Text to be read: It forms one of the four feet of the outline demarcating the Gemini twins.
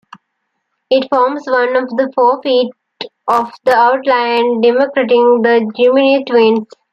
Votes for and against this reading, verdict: 2, 1, accepted